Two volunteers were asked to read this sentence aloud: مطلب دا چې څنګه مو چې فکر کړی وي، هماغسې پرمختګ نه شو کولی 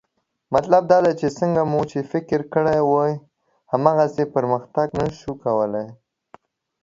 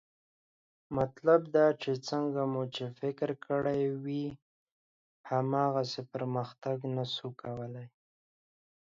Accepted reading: second